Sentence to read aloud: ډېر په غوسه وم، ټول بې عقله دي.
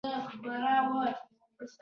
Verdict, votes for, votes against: rejected, 0, 2